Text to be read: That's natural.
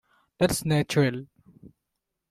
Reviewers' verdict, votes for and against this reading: rejected, 1, 2